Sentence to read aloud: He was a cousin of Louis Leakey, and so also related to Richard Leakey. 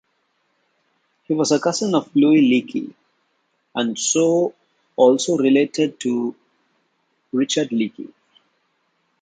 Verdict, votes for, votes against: accepted, 2, 0